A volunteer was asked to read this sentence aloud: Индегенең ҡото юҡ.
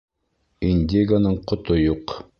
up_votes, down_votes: 2, 3